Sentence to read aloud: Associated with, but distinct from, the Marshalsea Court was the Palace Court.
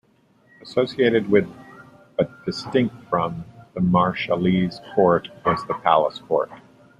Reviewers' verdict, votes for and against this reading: rejected, 0, 2